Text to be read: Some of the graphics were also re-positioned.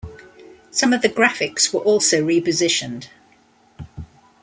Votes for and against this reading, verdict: 2, 0, accepted